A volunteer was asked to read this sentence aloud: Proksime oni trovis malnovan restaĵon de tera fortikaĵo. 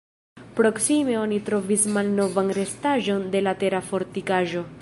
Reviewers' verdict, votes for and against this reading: rejected, 0, 2